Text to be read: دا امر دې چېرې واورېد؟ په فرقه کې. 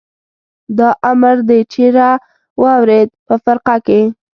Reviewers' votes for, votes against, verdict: 2, 0, accepted